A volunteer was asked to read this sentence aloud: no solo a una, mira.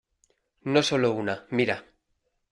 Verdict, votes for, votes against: rejected, 1, 2